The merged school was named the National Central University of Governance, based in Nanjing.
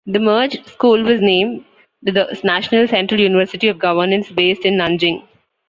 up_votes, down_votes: 1, 2